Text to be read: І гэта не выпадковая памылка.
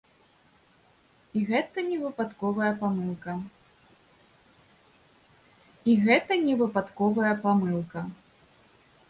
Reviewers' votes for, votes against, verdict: 0, 2, rejected